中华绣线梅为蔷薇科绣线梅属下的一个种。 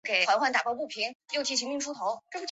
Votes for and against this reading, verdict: 0, 2, rejected